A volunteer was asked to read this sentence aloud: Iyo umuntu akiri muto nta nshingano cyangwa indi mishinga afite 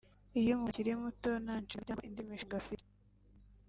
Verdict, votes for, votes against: rejected, 1, 2